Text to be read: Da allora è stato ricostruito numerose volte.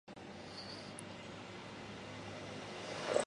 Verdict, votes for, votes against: rejected, 0, 2